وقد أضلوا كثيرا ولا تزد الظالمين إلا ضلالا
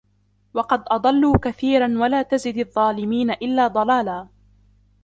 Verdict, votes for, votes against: accepted, 2, 1